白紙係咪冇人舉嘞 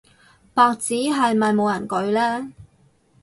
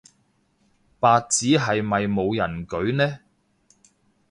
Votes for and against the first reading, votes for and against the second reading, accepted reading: 6, 0, 1, 2, first